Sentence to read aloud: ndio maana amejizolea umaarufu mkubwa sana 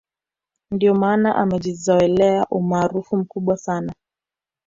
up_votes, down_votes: 2, 0